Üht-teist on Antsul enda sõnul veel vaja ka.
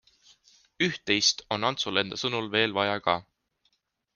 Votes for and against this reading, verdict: 2, 0, accepted